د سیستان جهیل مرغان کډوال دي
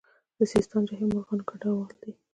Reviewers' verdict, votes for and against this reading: accepted, 2, 0